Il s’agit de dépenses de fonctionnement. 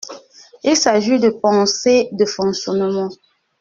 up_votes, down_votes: 0, 2